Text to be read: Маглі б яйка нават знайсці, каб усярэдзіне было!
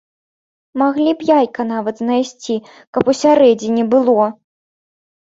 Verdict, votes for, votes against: accepted, 2, 0